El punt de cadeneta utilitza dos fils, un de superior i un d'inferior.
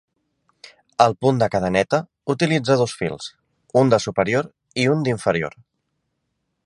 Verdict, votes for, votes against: accepted, 2, 0